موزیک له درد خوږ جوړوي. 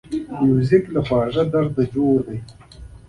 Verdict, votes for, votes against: rejected, 0, 2